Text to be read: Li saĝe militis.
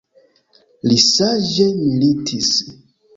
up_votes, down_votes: 3, 2